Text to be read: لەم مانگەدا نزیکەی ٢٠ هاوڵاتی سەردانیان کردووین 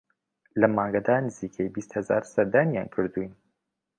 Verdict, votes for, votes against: rejected, 0, 2